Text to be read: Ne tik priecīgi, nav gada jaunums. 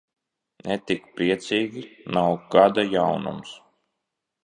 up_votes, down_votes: 2, 0